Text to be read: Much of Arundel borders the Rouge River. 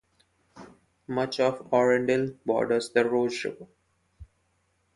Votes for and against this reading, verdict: 0, 2, rejected